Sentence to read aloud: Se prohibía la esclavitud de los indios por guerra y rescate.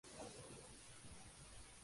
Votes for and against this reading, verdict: 0, 2, rejected